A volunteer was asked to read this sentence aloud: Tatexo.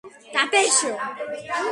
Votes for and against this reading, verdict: 0, 2, rejected